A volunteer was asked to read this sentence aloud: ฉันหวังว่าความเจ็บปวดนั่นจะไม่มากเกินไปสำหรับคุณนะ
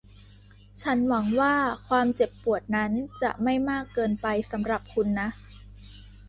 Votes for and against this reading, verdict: 1, 2, rejected